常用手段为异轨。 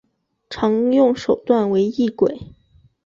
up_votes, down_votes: 7, 0